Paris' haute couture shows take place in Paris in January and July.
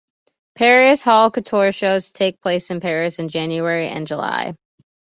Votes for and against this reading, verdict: 2, 0, accepted